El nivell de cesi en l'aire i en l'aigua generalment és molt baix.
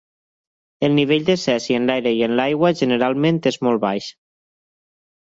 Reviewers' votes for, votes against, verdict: 4, 0, accepted